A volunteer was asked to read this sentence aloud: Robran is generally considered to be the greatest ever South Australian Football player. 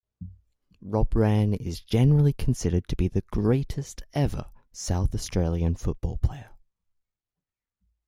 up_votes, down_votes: 2, 0